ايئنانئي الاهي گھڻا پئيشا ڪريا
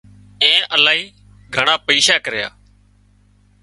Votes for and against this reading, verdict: 0, 2, rejected